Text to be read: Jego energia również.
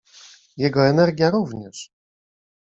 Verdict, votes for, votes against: accepted, 2, 1